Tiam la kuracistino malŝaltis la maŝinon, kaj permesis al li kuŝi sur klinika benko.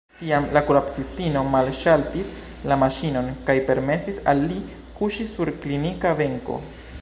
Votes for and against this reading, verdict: 2, 0, accepted